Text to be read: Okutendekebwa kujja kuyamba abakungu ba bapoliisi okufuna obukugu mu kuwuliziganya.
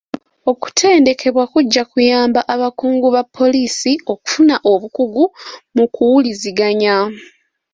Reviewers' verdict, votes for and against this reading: accepted, 2, 0